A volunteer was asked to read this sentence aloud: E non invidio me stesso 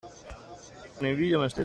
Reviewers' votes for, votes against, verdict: 0, 2, rejected